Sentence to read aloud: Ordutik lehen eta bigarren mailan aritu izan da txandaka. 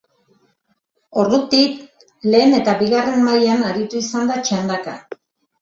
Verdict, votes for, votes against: accepted, 2, 0